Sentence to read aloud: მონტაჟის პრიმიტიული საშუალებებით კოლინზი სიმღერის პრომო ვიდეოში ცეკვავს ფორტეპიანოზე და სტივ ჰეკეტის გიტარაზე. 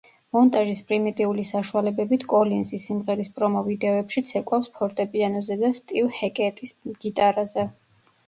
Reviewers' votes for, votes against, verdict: 0, 2, rejected